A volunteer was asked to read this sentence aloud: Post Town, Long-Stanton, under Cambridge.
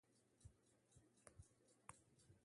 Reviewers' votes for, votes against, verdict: 0, 2, rejected